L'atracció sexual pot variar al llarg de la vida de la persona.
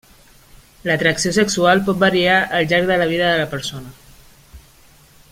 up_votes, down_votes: 2, 0